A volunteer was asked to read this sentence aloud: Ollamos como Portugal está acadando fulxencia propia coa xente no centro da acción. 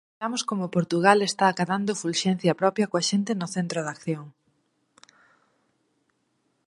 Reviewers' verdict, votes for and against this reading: rejected, 2, 4